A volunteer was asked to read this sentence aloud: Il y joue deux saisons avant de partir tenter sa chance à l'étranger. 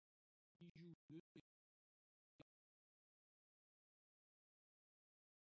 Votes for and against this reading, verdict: 0, 2, rejected